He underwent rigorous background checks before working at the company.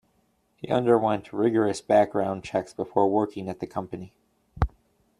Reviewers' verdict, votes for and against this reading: accepted, 2, 0